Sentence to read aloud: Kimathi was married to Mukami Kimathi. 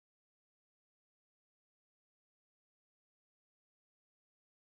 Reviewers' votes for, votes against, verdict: 0, 2, rejected